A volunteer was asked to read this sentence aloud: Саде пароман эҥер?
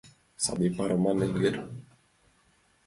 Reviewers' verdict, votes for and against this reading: accepted, 2, 0